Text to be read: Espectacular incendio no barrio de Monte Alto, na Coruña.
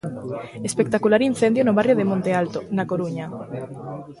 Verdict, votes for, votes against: accepted, 2, 0